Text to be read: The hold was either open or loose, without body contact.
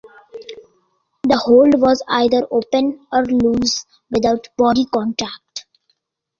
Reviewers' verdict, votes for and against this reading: accepted, 2, 0